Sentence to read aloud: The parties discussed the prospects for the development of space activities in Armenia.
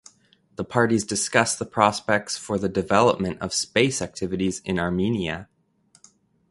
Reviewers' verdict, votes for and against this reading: accepted, 2, 0